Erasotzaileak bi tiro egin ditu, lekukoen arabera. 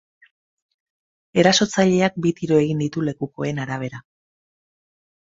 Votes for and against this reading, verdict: 6, 0, accepted